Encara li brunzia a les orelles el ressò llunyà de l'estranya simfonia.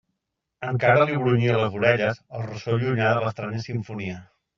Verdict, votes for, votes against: rejected, 0, 2